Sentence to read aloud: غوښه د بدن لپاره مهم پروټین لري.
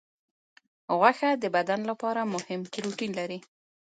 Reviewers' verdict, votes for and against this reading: accepted, 3, 0